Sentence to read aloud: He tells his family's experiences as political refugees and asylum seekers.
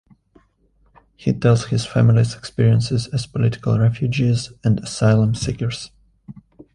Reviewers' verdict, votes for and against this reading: accepted, 3, 0